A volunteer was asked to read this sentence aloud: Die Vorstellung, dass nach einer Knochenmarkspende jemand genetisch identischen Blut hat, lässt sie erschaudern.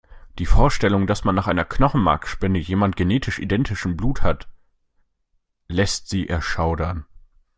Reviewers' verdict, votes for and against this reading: rejected, 1, 2